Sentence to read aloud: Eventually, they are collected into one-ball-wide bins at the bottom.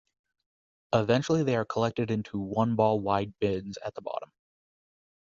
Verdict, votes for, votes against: accepted, 2, 0